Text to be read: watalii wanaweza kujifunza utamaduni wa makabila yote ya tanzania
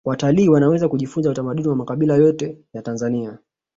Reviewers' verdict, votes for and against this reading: accepted, 3, 0